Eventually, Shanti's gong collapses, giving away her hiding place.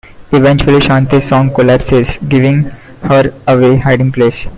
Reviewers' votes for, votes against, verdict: 0, 2, rejected